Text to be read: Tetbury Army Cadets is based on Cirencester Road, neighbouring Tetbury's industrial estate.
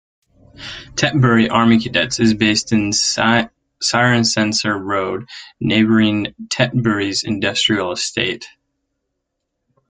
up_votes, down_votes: 0, 2